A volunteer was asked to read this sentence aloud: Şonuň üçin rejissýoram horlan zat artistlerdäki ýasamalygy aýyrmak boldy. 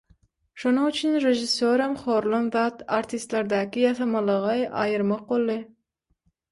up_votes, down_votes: 0, 6